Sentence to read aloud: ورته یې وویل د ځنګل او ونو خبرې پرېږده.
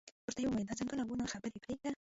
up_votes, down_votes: 0, 2